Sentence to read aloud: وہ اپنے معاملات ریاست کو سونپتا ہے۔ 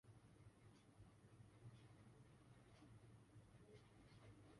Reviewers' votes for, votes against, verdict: 0, 2, rejected